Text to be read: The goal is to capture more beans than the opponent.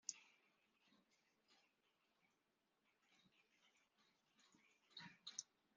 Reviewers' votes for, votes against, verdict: 0, 2, rejected